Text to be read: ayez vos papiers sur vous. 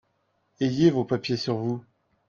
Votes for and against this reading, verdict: 2, 0, accepted